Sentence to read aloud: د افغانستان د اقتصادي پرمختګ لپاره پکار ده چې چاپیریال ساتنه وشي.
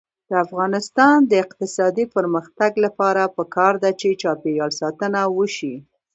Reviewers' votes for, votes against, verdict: 0, 2, rejected